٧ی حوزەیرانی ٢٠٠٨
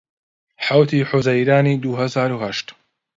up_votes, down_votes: 0, 2